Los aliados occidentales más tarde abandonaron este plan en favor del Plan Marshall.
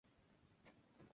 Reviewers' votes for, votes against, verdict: 0, 2, rejected